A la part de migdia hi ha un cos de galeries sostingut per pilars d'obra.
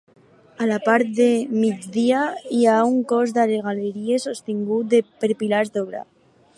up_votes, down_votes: 0, 4